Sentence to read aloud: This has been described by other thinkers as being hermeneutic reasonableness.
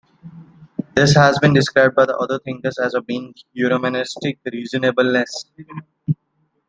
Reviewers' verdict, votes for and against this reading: rejected, 1, 2